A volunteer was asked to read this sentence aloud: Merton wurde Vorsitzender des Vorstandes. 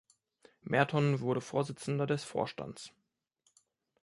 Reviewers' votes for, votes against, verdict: 0, 2, rejected